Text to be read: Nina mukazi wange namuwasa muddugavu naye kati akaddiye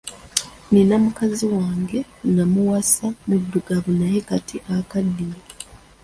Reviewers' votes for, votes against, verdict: 2, 0, accepted